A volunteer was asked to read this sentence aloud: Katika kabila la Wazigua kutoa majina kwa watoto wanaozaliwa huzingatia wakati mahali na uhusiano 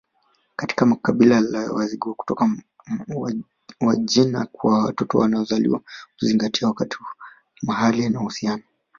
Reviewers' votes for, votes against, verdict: 1, 2, rejected